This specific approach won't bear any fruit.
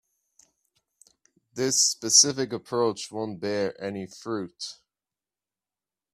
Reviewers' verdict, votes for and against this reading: accepted, 2, 0